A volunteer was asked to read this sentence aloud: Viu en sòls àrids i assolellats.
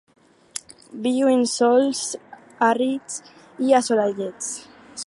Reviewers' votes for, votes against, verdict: 0, 4, rejected